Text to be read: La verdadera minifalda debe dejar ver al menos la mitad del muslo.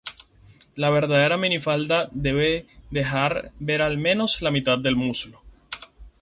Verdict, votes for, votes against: accepted, 2, 0